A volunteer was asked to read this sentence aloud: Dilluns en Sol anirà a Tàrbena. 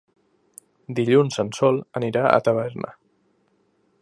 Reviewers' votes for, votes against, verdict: 1, 2, rejected